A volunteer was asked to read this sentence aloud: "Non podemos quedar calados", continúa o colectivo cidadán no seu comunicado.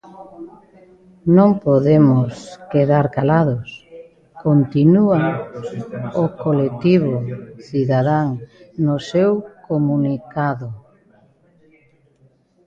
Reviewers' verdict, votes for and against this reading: rejected, 1, 2